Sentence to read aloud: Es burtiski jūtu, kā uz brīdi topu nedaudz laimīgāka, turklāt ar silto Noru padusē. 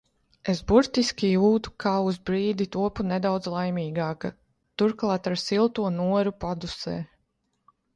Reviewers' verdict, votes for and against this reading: rejected, 1, 2